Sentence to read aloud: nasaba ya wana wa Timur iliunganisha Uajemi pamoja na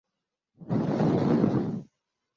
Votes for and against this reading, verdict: 1, 5, rejected